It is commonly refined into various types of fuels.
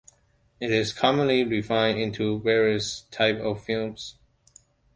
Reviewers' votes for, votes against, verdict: 0, 2, rejected